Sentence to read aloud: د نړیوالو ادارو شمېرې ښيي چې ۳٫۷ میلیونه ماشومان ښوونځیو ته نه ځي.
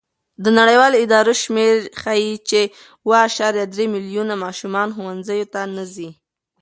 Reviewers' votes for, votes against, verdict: 0, 2, rejected